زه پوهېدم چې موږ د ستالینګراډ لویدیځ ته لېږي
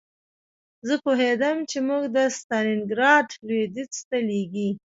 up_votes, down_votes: 2, 1